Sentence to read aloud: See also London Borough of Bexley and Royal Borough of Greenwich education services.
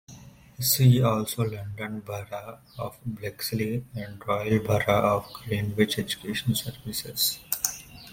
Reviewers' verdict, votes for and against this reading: accepted, 2, 1